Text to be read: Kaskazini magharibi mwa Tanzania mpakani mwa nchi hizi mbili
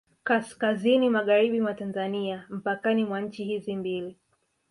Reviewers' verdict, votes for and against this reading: accepted, 2, 0